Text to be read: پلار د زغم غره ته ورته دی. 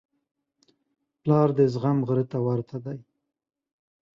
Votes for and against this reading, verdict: 2, 0, accepted